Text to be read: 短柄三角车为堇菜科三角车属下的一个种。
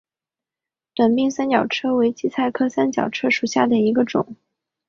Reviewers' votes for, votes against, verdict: 4, 0, accepted